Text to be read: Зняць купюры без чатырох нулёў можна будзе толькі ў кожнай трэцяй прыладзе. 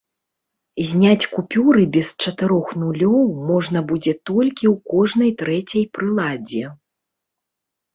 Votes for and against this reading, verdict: 2, 0, accepted